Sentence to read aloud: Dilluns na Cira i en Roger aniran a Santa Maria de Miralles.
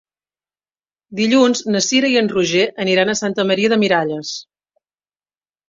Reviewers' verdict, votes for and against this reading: accepted, 3, 0